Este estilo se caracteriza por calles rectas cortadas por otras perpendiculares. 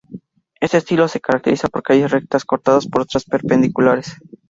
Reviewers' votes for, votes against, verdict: 0, 2, rejected